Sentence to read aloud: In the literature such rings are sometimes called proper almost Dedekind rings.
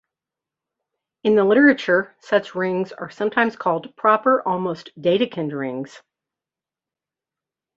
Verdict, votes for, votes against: accepted, 2, 0